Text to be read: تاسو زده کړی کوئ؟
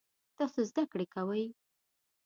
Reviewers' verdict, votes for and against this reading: accepted, 2, 0